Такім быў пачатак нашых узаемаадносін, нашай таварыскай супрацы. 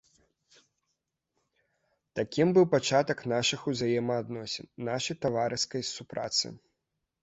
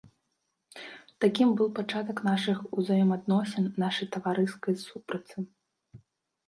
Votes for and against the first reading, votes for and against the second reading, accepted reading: 2, 0, 0, 2, first